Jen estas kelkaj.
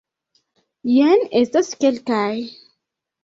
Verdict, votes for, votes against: accepted, 2, 1